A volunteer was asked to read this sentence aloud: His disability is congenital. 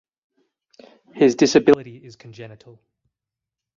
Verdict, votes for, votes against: accepted, 4, 2